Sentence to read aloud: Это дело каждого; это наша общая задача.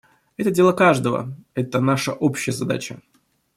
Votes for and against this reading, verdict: 2, 0, accepted